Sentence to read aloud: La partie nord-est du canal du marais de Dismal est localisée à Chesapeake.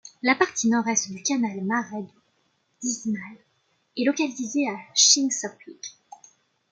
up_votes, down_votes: 0, 2